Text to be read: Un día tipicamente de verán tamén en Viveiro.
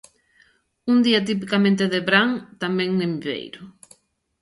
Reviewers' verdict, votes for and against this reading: rejected, 0, 2